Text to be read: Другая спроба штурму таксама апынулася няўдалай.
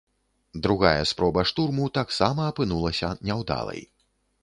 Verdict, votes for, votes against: accepted, 2, 0